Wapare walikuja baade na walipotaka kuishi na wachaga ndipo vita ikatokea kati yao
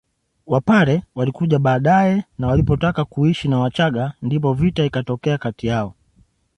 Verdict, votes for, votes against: rejected, 1, 2